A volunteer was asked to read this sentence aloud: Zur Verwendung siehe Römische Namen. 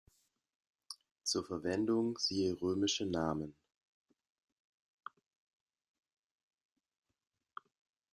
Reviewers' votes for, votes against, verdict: 2, 1, accepted